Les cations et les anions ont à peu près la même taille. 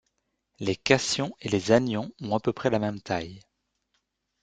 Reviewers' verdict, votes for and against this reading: rejected, 0, 2